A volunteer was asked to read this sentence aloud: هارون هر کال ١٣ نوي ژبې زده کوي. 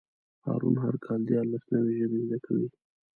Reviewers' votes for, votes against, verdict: 0, 2, rejected